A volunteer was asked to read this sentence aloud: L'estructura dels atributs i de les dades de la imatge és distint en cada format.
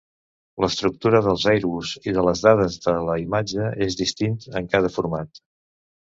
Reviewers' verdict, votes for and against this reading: rejected, 0, 2